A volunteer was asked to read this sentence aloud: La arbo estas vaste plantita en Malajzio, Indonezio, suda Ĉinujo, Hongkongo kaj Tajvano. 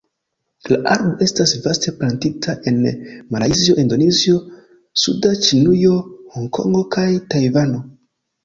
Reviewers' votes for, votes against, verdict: 2, 0, accepted